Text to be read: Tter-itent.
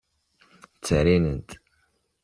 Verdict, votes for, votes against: rejected, 0, 2